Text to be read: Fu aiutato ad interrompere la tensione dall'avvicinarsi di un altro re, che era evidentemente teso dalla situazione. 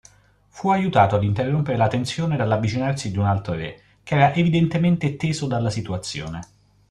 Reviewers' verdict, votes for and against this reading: accepted, 2, 0